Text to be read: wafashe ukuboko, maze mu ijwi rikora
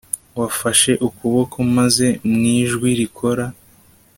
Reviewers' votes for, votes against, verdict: 2, 0, accepted